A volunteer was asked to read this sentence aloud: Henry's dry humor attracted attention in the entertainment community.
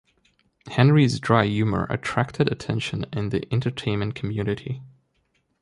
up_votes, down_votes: 1, 2